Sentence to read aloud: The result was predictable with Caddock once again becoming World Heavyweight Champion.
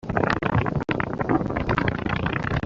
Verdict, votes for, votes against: rejected, 0, 2